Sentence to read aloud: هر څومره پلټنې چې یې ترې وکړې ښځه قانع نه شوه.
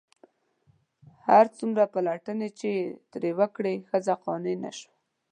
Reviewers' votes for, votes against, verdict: 2, 0, accepted